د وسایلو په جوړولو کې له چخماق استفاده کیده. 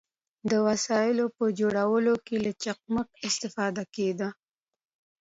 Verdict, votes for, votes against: accepted, 2, 0